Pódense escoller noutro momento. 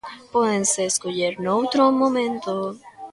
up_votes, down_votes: 2, 0